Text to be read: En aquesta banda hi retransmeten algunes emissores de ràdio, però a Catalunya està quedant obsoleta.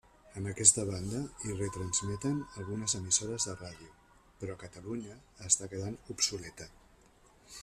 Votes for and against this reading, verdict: 0, 2, rejected